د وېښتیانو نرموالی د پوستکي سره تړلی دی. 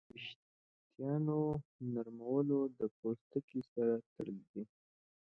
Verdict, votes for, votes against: accepted, 3, 1